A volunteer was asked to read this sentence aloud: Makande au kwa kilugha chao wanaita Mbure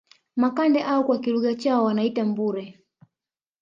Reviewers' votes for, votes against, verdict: 3, 0, accepted